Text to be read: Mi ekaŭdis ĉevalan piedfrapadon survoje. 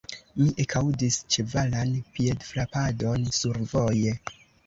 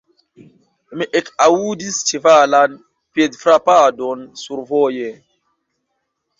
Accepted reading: second